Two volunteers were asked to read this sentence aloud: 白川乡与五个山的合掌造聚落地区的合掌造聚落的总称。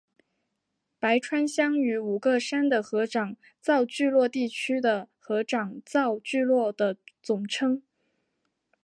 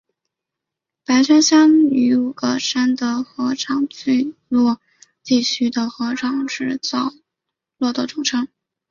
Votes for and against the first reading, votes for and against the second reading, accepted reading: 2, 0, 0, 2, first